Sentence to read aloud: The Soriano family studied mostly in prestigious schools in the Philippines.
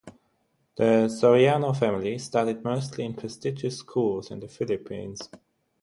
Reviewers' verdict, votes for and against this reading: accepted, 6, 0